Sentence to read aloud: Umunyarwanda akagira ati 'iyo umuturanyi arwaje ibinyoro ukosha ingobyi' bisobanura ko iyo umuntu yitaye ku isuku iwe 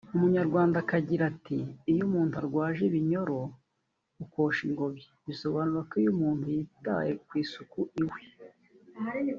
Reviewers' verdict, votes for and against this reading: rejected, 0, 2